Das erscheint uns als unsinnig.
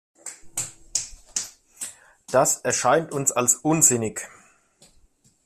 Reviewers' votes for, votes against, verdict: 2, 0, accepted